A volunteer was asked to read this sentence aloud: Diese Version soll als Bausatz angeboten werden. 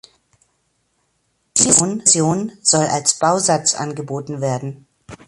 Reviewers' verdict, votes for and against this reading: rejected, 0, 2